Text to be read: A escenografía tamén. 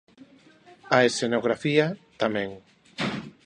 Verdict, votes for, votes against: rejected, 1, 2